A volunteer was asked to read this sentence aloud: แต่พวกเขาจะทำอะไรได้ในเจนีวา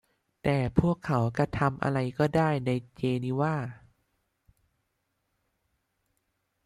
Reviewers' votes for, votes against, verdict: 0, 2, rejected